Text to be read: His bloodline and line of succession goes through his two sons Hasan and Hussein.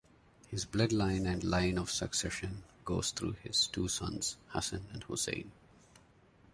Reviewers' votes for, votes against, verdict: 2, 0, accepted